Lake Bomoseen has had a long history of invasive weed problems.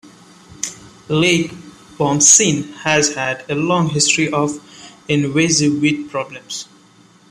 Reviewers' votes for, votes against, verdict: 1, 2, rejected